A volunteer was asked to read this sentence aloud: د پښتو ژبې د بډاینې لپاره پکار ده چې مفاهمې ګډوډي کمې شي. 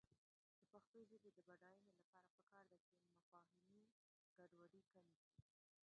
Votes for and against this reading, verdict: 1, 2, rejected